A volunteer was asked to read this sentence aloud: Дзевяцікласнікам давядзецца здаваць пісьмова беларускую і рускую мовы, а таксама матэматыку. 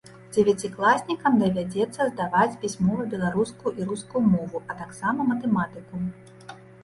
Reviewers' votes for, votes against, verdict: 2, 1, accepted